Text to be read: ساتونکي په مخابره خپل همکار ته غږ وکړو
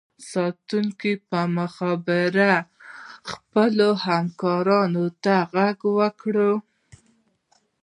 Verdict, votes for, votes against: rejected, 0, 2